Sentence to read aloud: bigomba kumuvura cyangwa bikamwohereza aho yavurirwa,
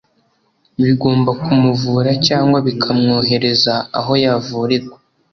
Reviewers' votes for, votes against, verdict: 2, 0, accepted